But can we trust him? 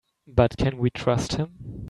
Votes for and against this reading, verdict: 3, 0, accepted